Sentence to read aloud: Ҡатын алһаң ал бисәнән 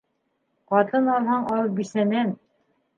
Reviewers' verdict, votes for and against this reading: accepted, 4, 0